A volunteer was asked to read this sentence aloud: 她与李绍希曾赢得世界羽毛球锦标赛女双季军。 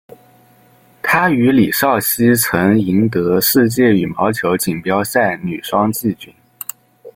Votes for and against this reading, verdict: 0, 2, rejected